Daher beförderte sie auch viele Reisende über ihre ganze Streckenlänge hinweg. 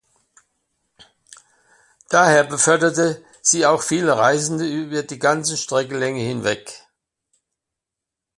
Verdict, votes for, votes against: rejected, 0, 2